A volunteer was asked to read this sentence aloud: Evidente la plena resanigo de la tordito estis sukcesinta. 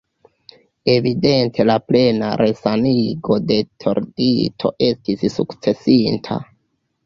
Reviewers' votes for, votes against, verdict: 1, 2, rejected